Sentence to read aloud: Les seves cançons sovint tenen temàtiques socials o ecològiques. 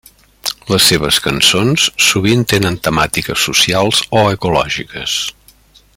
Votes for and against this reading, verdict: 3, 0, accepted